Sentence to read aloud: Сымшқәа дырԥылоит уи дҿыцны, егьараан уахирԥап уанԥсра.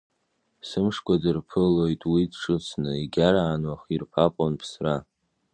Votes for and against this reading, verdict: 2, 0, accepted